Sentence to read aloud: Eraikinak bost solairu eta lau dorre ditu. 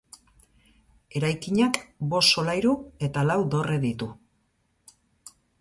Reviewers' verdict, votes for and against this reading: accepted, 6, 0